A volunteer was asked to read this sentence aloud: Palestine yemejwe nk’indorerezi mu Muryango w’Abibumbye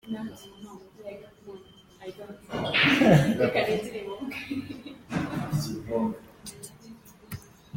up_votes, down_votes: 0, 3